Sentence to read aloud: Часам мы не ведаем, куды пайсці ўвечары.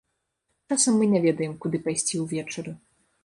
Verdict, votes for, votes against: rejected, 1, 2